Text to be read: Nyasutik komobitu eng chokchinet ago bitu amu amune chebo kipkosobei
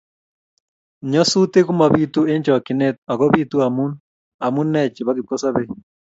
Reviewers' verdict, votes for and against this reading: accepted, 2, 0